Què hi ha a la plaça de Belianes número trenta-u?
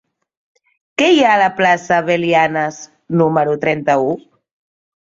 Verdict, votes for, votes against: rejected, 1, 2